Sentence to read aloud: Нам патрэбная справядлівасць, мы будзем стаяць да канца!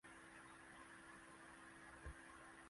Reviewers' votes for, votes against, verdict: 0, 2, rejected